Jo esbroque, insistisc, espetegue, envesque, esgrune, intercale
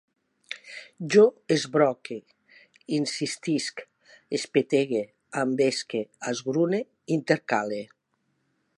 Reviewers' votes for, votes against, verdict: 2, 0, accepted